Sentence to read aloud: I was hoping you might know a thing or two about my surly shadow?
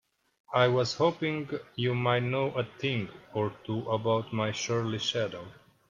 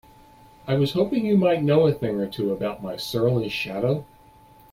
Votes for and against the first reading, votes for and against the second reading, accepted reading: 0, 2, 2, 0, second